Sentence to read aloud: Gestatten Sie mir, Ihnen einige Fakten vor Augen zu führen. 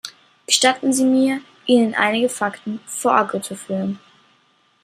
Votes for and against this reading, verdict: 1, 2, rejected